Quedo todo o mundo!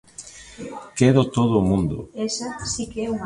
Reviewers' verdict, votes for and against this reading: rejected, 0, 2